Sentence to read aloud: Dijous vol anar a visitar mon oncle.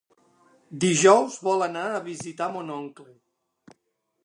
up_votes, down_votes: 3, 0